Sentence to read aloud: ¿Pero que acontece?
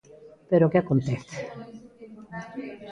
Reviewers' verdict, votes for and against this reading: rejected, 1, 2